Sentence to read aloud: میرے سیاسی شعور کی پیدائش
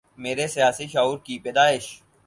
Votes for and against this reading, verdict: 4, 0, accepted